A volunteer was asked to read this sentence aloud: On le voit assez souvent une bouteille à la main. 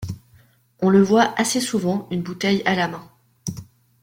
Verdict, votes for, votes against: accepted, 3, 0